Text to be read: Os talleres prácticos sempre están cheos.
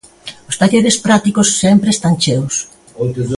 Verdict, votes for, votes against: accepted, 3, 1